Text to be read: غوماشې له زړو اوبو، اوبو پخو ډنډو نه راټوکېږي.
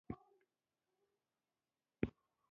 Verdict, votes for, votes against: rejected, 0, 2